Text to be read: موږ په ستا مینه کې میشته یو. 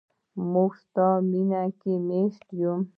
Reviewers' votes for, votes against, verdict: 0, 2, rejected